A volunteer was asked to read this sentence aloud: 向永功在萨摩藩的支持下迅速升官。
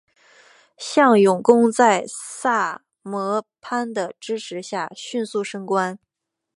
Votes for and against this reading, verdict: 1, 2, rejected